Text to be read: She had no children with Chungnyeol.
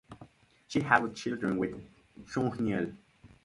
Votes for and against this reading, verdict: 0, 4, rejected